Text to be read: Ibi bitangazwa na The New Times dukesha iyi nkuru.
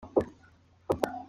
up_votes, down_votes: 0, 2